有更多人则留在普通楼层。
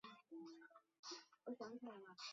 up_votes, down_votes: 0, 2